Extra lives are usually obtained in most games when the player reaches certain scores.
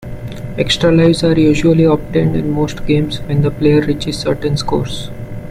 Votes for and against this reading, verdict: 2, 1, accepted